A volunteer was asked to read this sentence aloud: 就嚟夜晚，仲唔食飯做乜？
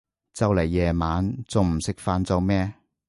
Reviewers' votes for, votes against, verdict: 0, 2, rejected